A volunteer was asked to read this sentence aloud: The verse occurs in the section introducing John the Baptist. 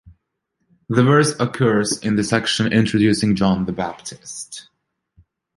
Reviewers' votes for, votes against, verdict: 2, 0, accepted